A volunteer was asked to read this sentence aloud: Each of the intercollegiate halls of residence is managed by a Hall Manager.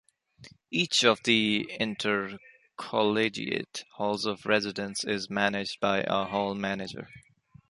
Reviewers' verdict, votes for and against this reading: accepted, 3, 1